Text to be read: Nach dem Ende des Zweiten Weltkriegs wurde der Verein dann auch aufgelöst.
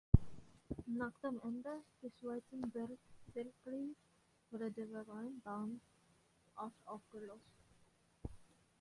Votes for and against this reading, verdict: 0, 2, rejected